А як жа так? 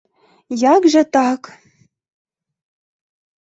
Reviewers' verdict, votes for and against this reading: rejected, 0, 2